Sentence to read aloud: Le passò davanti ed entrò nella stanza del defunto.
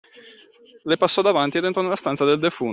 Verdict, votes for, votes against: rejected, 0, 2